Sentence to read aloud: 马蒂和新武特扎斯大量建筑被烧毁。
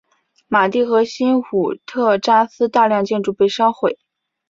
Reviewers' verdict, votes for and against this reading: accepted, 2, 0